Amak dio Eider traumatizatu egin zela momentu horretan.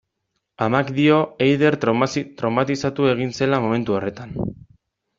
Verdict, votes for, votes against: rejected, 0, 2